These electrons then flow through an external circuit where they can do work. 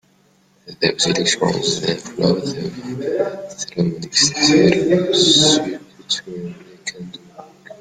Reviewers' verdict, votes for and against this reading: rejected, 0, 2